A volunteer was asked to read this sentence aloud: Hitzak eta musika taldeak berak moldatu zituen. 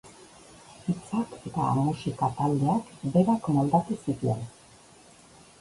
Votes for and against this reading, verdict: 1, 2, rejected